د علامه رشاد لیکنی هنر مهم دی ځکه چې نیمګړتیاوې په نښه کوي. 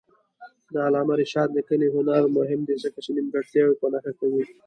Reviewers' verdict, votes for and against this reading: accepted, 2, 0